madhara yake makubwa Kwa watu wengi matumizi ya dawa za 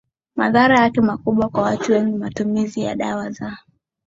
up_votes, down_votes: 7, 4